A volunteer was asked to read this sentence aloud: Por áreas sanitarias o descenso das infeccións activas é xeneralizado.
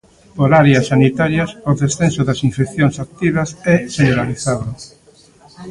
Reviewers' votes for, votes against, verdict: 0, 2, rejected